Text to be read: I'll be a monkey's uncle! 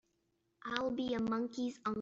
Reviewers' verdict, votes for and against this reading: rejected, 1, 2